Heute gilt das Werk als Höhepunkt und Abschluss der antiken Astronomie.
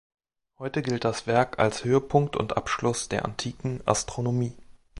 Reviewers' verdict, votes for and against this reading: accepted, 4, 0